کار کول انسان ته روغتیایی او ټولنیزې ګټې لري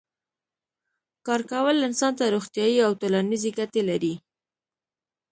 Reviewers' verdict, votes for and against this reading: rejected, 0, 2